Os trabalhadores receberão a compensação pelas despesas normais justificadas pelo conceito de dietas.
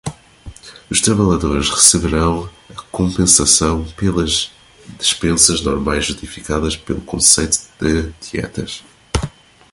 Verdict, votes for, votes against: rejected, 0, 2